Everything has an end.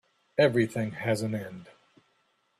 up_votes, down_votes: 2, 0